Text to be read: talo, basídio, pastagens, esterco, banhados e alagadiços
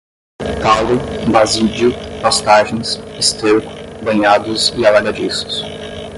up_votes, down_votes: 5, 5